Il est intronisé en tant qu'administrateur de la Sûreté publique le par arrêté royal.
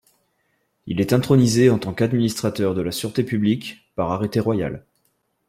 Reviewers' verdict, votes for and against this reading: rejected, 1, 2